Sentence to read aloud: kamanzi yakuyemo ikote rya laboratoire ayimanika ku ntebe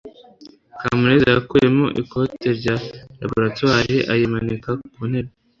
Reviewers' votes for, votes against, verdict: 1, 2, rejected